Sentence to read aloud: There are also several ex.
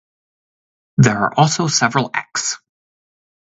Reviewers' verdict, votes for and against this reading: accepted, 4, 0